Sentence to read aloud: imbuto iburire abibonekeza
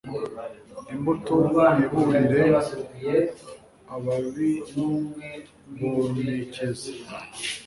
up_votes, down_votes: 0, 2